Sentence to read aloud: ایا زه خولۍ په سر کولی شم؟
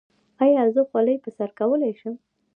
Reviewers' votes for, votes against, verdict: 0, 2, rejected